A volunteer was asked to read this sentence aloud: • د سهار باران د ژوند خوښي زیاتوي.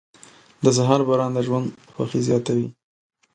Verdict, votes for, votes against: accepted, 2, 0